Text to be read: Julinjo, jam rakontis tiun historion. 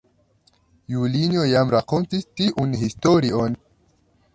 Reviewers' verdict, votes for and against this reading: rejected, 0, 2